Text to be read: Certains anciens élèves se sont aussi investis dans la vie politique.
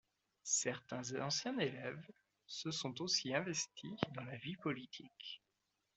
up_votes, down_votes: 2, 0